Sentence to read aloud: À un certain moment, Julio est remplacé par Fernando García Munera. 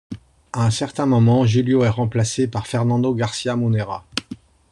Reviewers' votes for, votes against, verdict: 2, 0, accepted